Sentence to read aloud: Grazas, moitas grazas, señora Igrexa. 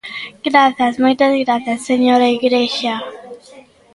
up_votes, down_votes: 1, 2